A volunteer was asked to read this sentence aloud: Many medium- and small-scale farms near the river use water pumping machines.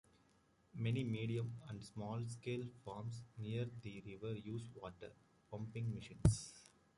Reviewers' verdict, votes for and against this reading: rejected, 1, 2